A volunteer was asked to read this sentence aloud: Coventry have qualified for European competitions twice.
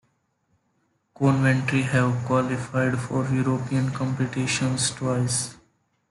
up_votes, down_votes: 2, 0